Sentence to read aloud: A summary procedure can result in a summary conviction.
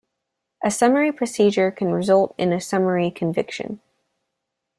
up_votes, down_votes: 2, 0